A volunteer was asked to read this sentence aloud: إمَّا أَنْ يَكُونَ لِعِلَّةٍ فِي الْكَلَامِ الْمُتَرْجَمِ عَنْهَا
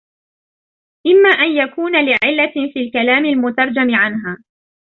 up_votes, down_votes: 0, 2